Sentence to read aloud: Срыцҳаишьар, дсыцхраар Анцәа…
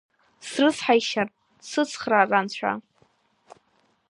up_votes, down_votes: 3, 0